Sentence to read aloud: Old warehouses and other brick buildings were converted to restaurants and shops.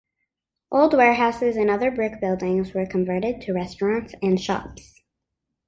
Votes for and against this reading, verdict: 2, 0, accepted